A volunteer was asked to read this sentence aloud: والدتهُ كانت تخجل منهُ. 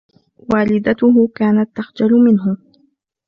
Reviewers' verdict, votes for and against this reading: accepted, 2, 0